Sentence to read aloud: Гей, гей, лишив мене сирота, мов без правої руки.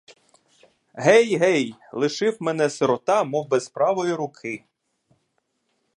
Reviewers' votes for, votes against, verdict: 2, 0, accepted